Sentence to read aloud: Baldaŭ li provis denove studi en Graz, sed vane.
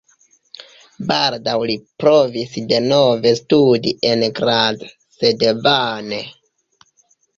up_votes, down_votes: 3, 1